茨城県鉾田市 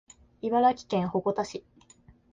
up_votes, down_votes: 2, 0